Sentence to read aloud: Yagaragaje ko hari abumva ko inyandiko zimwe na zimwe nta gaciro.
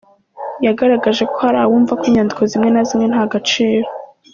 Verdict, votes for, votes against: accepted, 2, 0